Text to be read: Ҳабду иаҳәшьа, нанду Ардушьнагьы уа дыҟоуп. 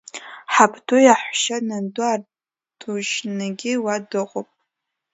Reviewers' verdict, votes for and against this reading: accepted, 2, 0